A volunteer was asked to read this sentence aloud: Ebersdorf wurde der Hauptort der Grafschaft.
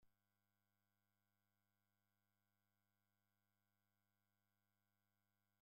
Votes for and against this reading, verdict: 0, 2, rejected